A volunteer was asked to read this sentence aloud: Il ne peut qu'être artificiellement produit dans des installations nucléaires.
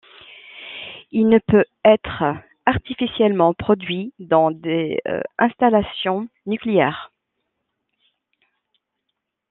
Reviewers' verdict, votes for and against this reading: rejected, 0, 2